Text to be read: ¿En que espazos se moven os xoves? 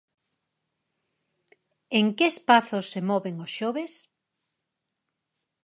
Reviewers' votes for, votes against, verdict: 4, 0, accepted